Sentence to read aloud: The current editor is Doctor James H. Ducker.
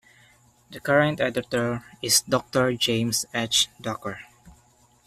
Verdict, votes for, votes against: accepted, 2, 0